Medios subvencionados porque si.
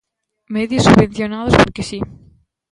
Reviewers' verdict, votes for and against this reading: accepted, 2, 0